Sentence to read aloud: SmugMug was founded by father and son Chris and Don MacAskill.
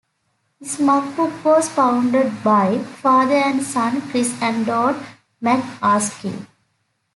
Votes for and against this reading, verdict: 0, 2, rejected